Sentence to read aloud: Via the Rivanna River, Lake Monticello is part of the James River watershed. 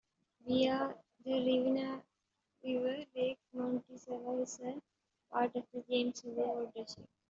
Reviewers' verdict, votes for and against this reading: rejected, 1, 2